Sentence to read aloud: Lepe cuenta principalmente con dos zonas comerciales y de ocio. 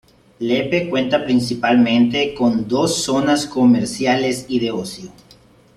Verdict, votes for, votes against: accepted, 2, 0